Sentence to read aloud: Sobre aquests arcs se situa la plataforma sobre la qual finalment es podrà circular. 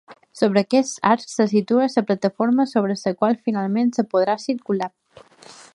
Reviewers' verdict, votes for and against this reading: rejected, 0, 2